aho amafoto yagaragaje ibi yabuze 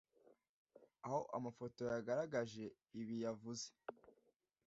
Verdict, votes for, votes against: rejected, 1, 2